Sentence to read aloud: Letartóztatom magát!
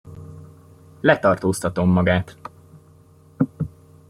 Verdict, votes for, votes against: rejected, 0, 2